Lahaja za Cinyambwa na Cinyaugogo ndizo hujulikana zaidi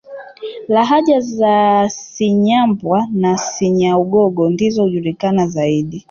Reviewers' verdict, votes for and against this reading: accepted, 2, 1